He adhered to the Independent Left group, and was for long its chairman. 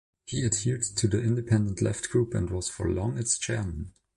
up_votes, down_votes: 2, 0